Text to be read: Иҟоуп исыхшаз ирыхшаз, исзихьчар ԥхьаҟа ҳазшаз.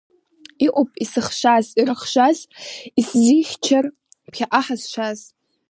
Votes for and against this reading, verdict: 2, 0, accepted